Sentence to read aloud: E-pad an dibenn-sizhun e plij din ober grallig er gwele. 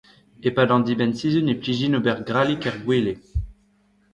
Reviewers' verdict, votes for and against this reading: accepted, 2, 1